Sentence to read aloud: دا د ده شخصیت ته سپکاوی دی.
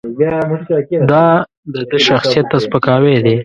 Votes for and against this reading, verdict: 1, 2, rejected